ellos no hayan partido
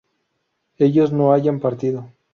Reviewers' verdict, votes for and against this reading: rejected, 2, 2